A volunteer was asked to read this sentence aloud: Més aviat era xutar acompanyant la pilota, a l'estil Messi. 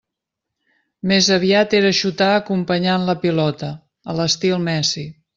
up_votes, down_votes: 3, 0